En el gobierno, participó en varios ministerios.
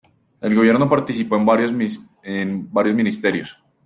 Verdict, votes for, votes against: rejected, 0, 2